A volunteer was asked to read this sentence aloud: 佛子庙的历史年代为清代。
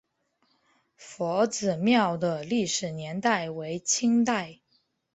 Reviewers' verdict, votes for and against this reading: accepted, 5, 0